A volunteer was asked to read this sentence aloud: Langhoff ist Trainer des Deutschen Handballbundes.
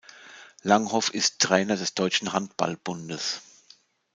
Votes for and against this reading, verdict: 2, 0, accepted